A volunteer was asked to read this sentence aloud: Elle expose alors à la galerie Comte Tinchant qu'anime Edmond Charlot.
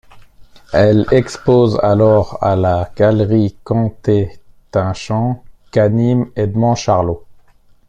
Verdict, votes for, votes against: rejected, 0, 2